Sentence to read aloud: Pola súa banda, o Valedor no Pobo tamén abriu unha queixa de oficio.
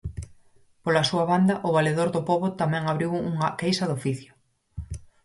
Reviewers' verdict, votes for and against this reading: accepted, 4, 0